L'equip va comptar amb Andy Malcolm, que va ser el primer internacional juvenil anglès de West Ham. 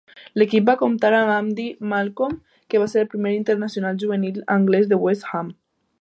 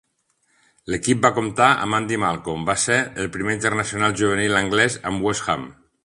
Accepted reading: first